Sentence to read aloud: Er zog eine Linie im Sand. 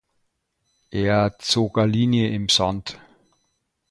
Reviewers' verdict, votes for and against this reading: rejected, 0, 2